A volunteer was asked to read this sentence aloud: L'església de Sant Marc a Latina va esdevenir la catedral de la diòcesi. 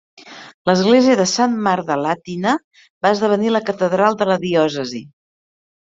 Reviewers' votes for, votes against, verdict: 2, 0, accepted